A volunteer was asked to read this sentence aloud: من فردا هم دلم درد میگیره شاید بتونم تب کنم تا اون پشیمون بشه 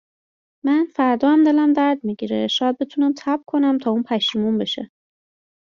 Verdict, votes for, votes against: accepted, 2, 0